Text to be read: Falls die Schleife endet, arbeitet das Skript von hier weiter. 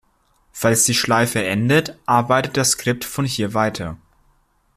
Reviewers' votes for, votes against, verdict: 2, 0, accepted